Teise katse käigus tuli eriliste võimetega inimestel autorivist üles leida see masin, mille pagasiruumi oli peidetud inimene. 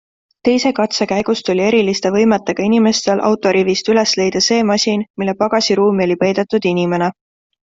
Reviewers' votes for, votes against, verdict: 2, 0, accepted